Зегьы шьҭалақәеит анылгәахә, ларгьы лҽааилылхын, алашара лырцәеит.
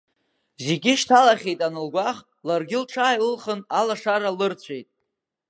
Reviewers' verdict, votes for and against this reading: rejected, 2, 3